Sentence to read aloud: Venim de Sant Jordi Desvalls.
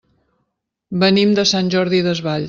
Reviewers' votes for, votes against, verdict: 1, 2, rejected